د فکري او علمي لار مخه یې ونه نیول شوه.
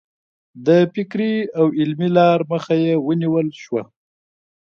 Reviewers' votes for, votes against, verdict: 2, 0, accepted